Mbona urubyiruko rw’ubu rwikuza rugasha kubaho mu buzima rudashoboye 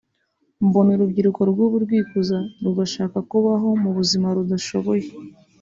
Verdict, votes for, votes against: accepted, 2, 0